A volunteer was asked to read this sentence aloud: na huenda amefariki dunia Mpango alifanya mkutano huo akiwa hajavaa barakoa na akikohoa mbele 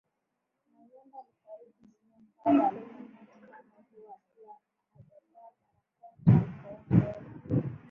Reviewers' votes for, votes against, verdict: 0, 14, rejected